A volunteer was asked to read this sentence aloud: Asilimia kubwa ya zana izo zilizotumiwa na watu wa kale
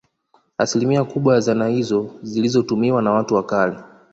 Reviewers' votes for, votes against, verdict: 2, 0, accepted